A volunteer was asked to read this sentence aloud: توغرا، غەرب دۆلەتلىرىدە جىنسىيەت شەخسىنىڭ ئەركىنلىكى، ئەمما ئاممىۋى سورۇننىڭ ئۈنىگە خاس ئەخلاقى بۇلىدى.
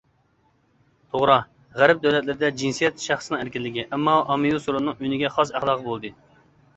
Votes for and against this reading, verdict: 2, 0, accepted